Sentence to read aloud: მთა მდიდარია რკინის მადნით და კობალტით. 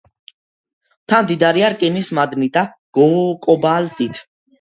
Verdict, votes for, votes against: rejected, 0, 2